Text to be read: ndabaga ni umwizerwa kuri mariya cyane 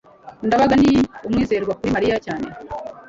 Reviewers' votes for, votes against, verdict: 2, 0, accepted